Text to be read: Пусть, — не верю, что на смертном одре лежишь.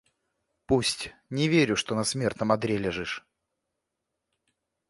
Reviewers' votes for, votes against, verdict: 2, 0, accepted